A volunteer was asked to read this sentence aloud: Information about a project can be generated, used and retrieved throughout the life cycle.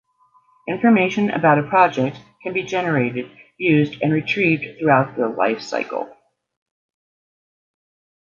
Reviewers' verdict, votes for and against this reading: accepted, 2, 0